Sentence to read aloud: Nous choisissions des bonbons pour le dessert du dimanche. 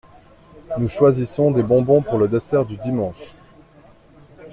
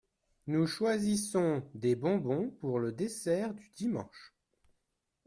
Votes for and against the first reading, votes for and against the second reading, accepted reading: 2, 0, 0, 2, first